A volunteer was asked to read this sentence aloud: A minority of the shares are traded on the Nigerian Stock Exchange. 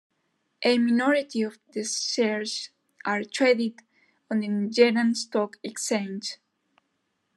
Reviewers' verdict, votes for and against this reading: accepted, 2, 1